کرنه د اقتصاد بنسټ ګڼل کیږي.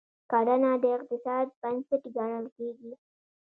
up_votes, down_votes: 1, 2